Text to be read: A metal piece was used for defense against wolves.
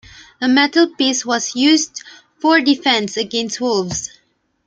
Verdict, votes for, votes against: accepted, 2, 0